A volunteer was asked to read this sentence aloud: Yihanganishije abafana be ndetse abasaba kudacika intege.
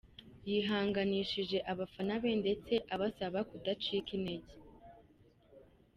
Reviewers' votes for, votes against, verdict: 3, 0, accepted